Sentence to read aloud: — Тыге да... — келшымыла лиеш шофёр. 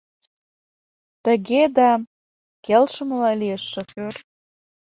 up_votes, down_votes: 2, 0